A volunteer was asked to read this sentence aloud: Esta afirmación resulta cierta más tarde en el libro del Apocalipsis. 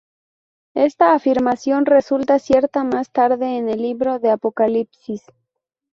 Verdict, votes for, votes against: accepted, 2, 0